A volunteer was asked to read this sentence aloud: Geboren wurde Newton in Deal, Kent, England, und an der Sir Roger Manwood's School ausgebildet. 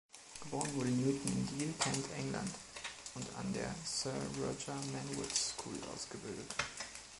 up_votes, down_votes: 0, 2